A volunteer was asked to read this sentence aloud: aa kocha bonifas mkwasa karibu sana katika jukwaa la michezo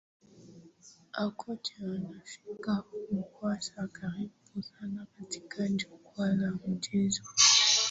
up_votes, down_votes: 2, 13